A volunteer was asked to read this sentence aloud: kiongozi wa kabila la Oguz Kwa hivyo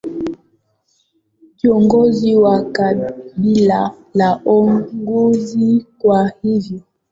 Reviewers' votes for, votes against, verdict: 0, 2, rejected